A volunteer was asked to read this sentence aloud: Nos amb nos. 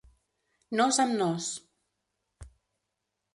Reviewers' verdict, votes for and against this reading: accepted, 3, 1